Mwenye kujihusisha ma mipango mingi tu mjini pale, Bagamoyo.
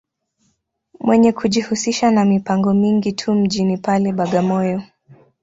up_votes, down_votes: 3, 0